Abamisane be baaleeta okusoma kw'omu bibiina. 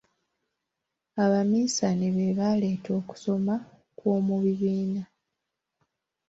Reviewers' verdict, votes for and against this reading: accepted, 3, 0